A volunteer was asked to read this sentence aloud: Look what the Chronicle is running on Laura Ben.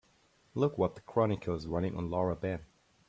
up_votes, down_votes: 3, 0